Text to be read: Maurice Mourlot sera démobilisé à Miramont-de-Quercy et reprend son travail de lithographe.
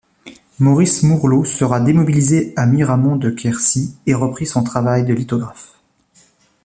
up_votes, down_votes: 0, 3